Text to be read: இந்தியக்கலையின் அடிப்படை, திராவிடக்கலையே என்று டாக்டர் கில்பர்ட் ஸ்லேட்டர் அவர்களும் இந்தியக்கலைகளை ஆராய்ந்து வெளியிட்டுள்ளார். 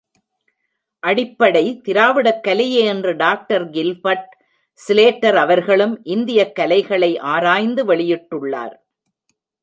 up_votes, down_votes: 0, 2